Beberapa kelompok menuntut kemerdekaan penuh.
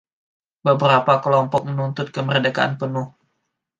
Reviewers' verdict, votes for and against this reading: rejected, 1, 2